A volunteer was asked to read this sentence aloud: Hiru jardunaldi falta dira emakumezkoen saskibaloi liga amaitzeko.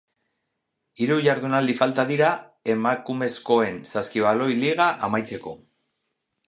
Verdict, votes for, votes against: accepted, 4, 0